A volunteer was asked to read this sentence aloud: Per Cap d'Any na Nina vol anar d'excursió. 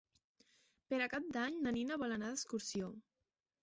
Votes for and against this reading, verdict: 0, 2, rejected